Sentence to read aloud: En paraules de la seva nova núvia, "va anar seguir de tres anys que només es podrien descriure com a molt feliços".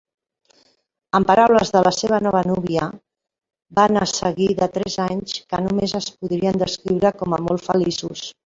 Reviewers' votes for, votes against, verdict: 0, 2, rejected